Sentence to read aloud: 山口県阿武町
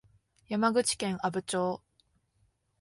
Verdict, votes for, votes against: accepted, 2, 0